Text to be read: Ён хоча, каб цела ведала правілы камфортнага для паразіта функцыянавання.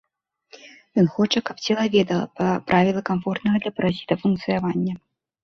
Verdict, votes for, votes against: rejected, 1, 2